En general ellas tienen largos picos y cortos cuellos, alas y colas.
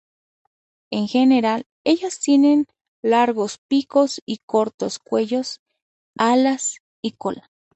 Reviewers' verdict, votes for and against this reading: accepted, 2, 0